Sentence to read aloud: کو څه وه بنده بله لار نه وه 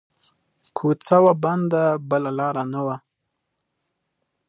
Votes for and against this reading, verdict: 2, 0, accepted